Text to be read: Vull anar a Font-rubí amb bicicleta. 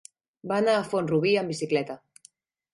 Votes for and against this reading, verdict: 2, 4, rejected